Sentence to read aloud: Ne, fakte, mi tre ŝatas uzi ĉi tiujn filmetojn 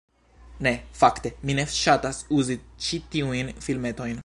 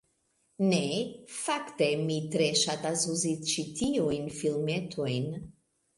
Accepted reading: second